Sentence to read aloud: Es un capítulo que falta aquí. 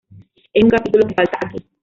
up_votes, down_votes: 0, 2